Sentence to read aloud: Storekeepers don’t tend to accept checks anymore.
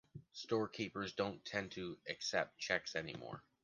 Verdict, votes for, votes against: accepted, 2, 1